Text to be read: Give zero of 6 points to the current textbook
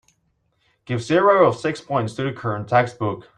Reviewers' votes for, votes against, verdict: 0, 2, rejected